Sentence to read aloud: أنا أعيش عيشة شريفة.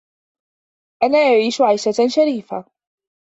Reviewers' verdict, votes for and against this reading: accepted, 2, 0